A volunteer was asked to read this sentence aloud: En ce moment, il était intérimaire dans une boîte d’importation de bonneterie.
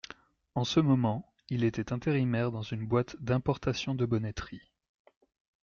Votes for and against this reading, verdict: 2, 0, accepted